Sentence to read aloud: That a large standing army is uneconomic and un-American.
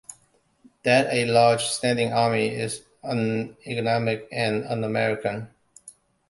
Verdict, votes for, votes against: accepted, 2, 0